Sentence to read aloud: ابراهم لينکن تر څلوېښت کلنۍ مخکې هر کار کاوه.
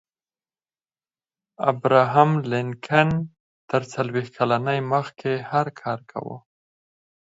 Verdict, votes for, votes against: rejected, 2, 4